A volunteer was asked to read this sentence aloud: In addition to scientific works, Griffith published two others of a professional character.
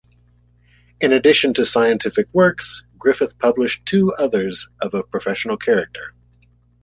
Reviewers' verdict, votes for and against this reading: accepted, 2, 0